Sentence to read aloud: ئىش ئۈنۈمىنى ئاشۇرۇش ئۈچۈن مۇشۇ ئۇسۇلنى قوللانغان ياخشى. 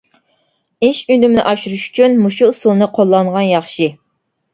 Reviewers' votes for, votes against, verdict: 2, 0, accepted